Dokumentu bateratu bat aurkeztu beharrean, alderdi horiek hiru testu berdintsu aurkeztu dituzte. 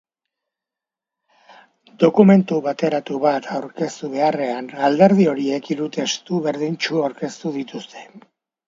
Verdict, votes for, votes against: accepted, 2, 0